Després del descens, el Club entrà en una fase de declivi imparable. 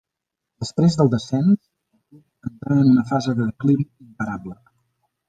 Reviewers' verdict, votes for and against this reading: rejected, 1, 2